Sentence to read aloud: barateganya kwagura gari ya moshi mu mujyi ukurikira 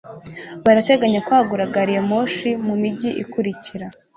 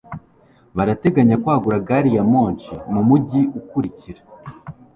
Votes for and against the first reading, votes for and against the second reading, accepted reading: 1, 2, 2, 1, second